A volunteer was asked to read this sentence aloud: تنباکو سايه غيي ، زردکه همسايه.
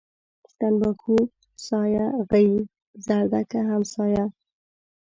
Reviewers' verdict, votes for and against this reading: rejected, 0, 2